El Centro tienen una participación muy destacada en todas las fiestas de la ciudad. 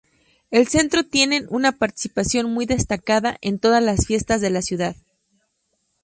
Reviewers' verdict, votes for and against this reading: accepted, 2, 0